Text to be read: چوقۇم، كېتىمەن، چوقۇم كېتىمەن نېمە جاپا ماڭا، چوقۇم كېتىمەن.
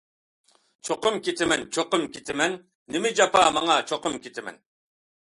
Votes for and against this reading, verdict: 2, 0, accepted